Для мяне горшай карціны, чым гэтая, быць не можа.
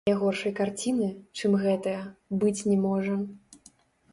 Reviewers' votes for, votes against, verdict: 1, 2, rejected